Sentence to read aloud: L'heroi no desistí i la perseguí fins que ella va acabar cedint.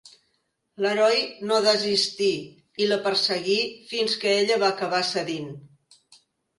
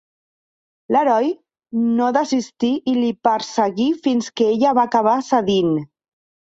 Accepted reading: first